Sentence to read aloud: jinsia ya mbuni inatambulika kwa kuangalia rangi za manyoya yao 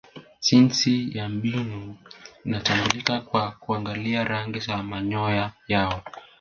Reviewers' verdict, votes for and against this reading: accepted, 2, 0